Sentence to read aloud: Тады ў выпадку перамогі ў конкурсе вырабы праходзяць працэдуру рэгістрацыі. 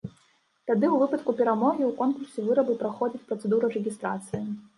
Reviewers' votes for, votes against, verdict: 2, 1, accepted